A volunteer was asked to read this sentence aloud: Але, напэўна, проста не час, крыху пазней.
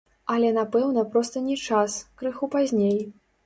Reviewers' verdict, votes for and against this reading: rejected, 1, 2